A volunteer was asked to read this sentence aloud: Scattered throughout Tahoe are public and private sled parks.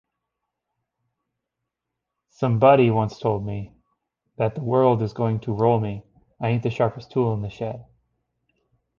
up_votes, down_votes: 0, 2